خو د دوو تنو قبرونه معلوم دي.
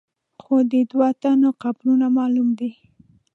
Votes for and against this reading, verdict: 2, 1, accepted